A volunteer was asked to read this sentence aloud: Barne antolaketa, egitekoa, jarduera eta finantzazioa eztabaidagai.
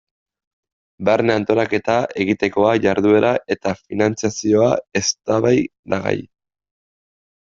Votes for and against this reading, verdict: 1, 2, rejected